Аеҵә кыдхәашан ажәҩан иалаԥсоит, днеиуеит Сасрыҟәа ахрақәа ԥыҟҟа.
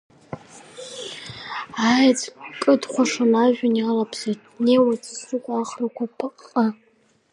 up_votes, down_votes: 2, 3